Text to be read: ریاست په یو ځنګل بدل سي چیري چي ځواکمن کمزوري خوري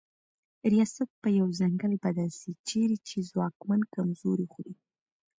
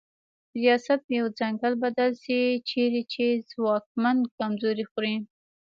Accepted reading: second